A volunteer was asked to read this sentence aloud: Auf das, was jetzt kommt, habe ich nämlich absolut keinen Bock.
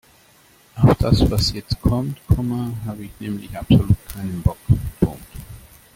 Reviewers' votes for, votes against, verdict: 0, 2, rejected